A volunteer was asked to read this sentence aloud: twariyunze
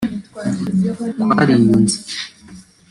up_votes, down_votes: 1, 2